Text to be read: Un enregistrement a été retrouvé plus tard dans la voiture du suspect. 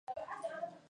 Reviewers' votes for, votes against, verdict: 1, 2, rejected